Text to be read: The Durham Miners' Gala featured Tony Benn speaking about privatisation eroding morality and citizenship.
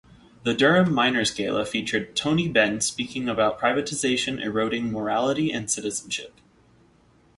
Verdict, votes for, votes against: accepted, 2, 0